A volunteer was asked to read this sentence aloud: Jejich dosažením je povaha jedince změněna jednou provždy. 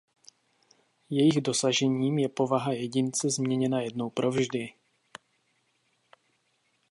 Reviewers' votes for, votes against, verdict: 2, 0, accepted